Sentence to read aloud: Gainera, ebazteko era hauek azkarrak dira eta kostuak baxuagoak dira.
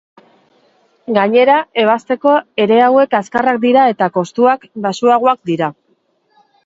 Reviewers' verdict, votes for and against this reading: rejected, 2, 2